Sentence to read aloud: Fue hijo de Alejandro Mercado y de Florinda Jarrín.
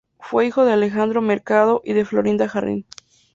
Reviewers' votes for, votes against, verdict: 0, 2, rejected